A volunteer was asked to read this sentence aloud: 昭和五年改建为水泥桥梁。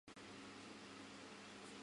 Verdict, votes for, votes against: rejected, 0, 2